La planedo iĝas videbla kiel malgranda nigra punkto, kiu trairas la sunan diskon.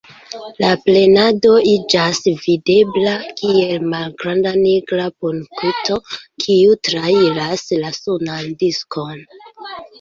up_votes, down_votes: 1, 2